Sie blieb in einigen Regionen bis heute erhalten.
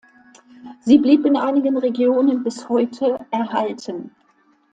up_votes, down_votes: 2, 1